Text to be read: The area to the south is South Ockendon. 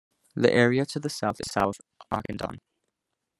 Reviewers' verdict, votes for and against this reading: rejected, 0, 2